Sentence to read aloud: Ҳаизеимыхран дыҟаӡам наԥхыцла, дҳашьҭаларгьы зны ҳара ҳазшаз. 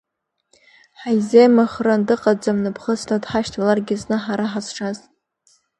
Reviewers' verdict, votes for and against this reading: accepted, 2, 0